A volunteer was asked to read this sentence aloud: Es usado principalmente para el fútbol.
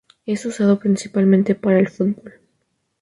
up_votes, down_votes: 2, 0